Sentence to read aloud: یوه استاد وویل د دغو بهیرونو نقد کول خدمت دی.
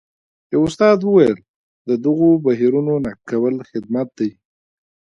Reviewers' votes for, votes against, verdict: 2, 1, accepted